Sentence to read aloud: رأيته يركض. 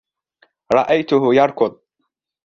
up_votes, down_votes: 2, 0